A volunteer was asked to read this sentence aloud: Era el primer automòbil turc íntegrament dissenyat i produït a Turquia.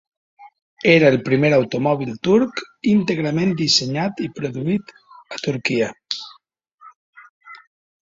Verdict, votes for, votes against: accepted, 2, 0